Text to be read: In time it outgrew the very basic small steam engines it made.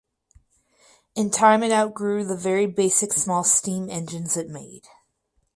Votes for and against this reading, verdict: 2, 2, rejected